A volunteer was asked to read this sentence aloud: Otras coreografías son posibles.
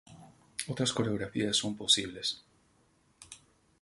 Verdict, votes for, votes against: rejected, 0, 2